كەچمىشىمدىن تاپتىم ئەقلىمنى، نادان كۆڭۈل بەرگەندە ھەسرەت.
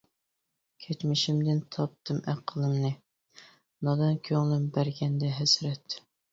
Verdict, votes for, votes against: rejected, 1, 2